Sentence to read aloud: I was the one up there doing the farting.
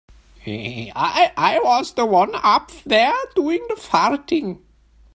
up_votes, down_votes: 0, 2